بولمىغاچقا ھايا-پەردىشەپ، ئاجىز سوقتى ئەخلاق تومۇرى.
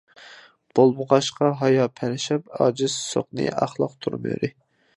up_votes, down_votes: 0, 2